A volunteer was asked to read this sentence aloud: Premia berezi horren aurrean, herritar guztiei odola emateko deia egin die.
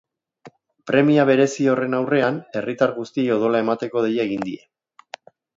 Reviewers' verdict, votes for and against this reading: accepted, 3, 0